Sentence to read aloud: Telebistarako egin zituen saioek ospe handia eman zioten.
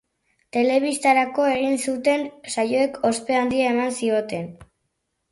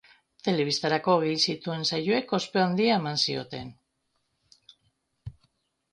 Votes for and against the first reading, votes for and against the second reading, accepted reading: 0, 2, 2, 1, second